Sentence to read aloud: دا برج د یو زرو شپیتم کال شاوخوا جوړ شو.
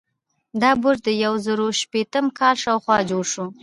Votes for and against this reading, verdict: 2, 0, accepted